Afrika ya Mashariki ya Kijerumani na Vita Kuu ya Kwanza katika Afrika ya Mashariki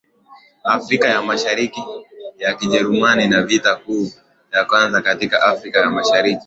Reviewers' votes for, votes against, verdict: 0, 2, rejected